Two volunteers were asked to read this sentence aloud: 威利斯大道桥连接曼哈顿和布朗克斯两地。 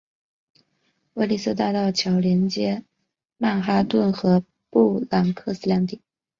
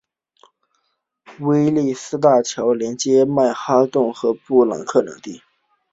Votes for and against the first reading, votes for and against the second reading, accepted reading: 1, 2, 2, 0, second